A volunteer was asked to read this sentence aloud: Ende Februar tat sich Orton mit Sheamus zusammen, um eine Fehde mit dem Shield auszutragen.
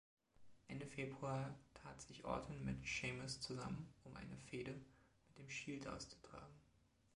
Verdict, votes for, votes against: accepted, 2, 0